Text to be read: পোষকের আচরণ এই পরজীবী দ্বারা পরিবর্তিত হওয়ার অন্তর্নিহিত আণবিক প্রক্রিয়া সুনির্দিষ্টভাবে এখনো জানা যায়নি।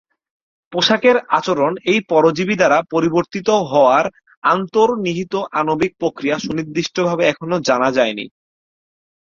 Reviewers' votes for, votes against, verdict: 2, 4, rejected